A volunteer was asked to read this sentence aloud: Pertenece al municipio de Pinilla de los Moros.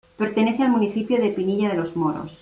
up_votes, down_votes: 2, 0